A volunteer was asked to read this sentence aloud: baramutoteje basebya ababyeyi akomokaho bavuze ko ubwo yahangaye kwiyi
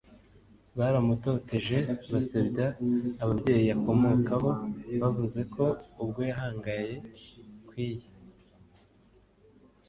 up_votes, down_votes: 2, 0